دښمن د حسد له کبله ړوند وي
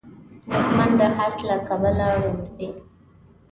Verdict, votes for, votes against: rejected, 0, 2